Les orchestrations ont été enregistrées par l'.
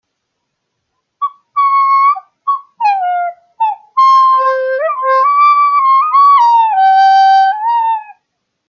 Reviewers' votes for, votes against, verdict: 1, 2, rejected